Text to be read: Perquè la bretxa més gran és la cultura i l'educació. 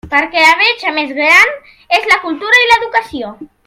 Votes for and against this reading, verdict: 2, 0, accepted